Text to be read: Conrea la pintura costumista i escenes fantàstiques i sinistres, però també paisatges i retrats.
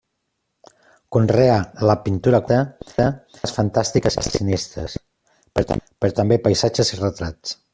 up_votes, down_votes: 0, 2